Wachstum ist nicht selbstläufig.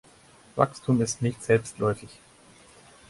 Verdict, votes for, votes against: accepted, 4, 0